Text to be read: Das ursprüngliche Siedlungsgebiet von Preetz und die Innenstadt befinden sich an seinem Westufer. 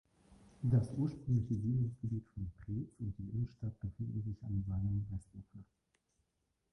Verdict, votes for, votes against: rejected, 1, 2